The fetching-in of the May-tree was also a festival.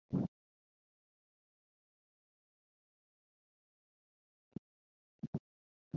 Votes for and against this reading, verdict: 0, 2, rejected